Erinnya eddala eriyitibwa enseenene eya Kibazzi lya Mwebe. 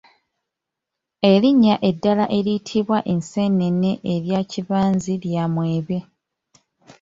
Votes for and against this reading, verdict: 0, 2, rejected